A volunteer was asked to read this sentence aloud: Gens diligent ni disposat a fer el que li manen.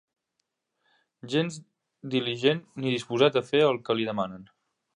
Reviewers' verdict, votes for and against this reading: rejected, 0, 3